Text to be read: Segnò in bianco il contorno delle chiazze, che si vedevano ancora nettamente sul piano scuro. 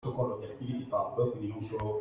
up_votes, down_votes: 0, 2